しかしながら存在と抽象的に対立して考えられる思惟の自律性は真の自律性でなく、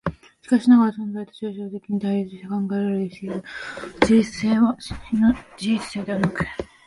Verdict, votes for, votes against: accepted, 2, 1